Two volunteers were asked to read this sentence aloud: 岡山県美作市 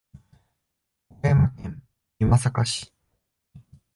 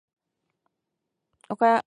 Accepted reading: first